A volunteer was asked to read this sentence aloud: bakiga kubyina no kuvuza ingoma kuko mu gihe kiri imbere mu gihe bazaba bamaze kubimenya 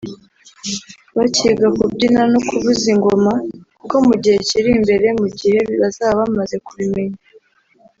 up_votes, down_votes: 1, 2